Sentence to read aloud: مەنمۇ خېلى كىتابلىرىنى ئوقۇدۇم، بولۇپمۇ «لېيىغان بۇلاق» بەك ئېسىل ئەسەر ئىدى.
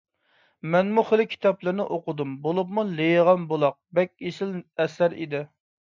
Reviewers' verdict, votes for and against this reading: accepted, 2, 0